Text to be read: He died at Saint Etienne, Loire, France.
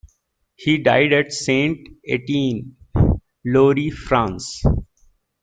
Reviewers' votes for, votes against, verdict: 2, 0, accepted